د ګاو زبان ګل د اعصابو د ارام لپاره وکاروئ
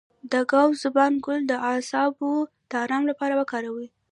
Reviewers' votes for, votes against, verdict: 2, 1, accepted